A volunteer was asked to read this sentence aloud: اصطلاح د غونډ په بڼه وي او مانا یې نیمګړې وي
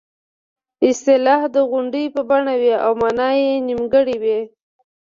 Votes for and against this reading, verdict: 1, 2, rejected